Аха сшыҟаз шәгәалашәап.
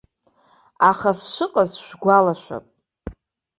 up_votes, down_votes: 2, 0